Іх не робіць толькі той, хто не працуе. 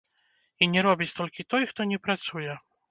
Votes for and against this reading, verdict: 1, 2, rejected